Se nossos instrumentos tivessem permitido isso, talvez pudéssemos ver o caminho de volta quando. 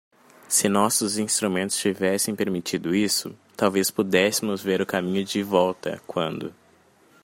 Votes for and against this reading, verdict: 2, 0, accepted